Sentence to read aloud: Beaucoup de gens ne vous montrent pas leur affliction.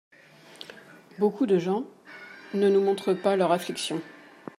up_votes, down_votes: 1, 2